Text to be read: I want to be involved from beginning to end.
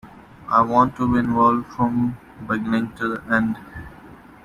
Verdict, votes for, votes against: rejected, 0, 2